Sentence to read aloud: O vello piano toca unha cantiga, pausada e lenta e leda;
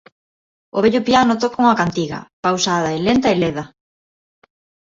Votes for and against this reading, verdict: 1, 2, rejected